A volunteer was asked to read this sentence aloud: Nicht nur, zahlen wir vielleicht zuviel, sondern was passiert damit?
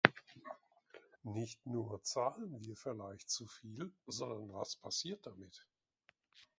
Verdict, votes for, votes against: rejected, 1, 2